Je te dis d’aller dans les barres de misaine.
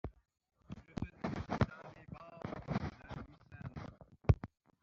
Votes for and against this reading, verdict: 0, 2, rejected